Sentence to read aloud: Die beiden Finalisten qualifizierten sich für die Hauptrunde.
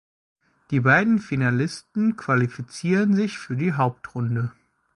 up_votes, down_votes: 0, 2